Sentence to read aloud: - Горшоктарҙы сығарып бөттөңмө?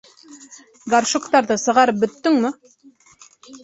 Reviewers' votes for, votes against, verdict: 2, 0, accepted